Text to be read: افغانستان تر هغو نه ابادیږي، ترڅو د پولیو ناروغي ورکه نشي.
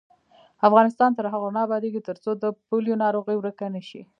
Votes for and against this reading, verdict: 0, 2, rejected